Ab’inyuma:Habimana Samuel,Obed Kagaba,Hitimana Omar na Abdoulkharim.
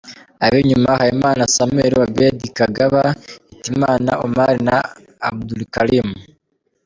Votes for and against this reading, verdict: 1, 2, rejected